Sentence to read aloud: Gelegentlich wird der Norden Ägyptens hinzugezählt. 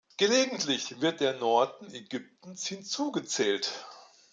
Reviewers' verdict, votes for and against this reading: accepted, 3, 0